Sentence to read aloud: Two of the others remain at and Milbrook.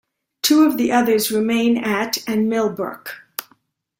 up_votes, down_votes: 2, 0